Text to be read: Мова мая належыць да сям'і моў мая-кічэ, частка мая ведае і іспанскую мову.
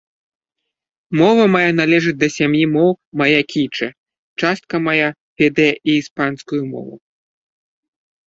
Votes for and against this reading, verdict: 2, 1, accepted